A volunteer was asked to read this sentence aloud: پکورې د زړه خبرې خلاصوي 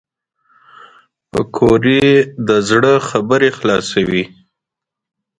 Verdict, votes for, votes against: rejected, 0, 2